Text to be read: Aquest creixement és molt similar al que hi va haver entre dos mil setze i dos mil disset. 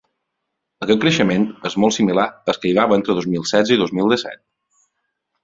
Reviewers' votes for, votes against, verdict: 2, 0, accepted